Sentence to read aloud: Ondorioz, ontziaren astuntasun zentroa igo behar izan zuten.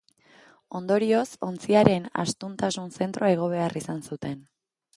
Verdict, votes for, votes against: accepted, 2, 0